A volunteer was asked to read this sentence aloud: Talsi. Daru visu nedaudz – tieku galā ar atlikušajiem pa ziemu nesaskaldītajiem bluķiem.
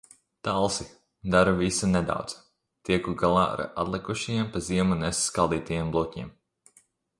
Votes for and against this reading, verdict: 2, 0, accepted